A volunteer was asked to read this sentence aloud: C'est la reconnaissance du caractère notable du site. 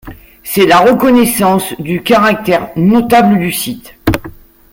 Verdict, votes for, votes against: accepted, 2, 1